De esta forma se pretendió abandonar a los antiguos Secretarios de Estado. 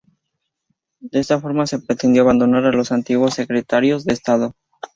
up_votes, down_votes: 2, 0